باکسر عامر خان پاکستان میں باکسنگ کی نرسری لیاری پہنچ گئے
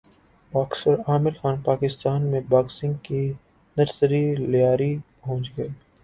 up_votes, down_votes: 0, 2